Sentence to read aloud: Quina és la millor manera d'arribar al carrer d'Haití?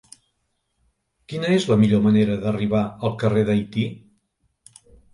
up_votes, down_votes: 2, 0